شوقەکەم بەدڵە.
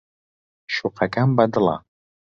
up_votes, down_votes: 3, 0